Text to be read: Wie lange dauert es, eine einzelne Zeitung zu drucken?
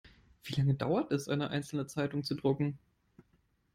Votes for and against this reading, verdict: 3, 0, accepted